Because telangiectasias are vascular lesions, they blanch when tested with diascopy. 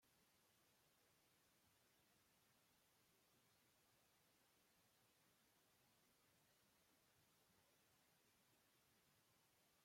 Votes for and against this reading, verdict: 0, 2, rejected